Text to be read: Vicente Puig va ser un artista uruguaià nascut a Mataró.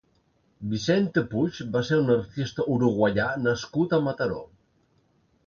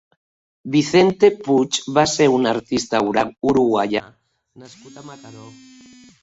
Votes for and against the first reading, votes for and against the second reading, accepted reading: 2, 0, 0, 2, first